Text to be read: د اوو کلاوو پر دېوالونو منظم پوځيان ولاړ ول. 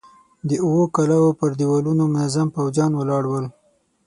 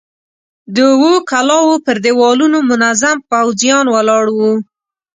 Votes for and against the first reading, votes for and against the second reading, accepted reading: 3, 6, 15, 0, second